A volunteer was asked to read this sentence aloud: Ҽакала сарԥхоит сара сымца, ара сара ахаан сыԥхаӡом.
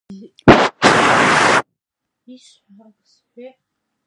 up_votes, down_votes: 0, 2